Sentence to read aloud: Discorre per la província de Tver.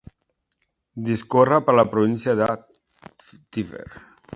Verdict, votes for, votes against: accepted, 2, 0